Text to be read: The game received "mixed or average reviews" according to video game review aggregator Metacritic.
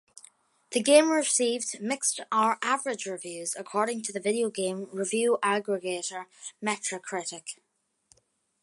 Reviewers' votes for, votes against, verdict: 0, 2, rejected